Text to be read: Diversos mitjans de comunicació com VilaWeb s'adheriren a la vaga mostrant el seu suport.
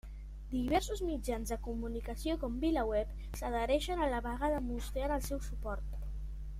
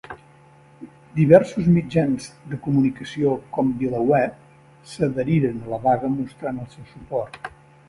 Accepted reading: second